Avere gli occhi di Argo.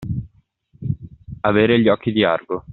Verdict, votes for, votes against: accepted, 2, 0